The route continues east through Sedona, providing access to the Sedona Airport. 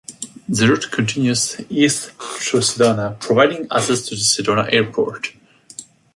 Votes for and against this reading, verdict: 0, 2, rejected